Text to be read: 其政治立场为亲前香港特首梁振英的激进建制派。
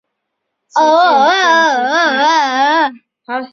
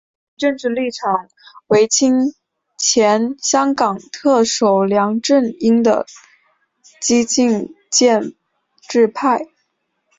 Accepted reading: second